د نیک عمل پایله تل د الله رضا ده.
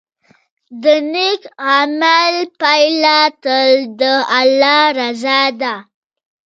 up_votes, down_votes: 2, 0